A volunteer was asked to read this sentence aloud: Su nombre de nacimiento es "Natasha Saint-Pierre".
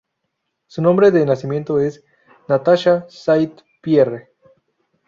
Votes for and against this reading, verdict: 2, 0, accepted